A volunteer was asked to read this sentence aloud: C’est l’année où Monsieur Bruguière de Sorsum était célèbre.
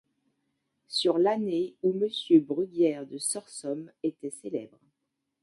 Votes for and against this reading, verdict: 1, 2, rejected